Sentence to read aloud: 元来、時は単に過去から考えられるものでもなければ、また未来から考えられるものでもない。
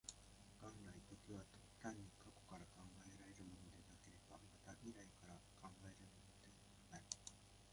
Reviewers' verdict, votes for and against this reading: rejected, 1, 2